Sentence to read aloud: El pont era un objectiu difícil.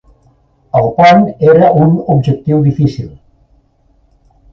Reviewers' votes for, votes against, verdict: 2, 0, accepted